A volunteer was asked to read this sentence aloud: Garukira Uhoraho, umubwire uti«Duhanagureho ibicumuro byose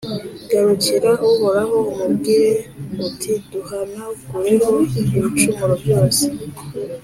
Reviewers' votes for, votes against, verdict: 2, 0, accepted